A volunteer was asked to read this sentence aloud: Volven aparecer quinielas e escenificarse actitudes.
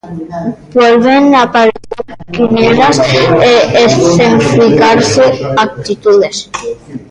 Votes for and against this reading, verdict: 0, 2, rejected